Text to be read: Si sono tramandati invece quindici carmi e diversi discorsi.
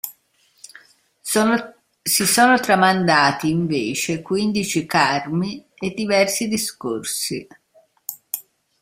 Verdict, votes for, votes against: rejected, 0, 2